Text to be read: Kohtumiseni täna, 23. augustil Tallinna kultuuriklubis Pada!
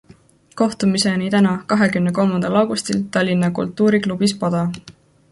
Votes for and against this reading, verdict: 0, 2, rejected